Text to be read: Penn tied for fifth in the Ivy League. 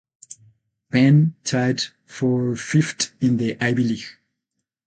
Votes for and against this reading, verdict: 0, 8, rejected